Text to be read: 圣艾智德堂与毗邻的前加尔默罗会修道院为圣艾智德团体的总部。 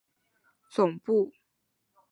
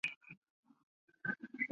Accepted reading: first